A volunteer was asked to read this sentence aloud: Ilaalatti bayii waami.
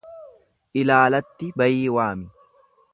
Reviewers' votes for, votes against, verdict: 2, 0, accepted